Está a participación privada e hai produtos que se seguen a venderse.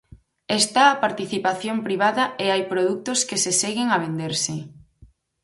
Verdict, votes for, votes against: accepted, 2, 0